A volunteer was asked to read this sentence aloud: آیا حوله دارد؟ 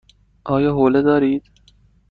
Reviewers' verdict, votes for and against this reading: rejected, 1, 2